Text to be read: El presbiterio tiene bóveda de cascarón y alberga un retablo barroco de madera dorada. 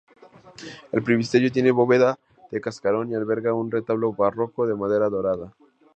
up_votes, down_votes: 2, 2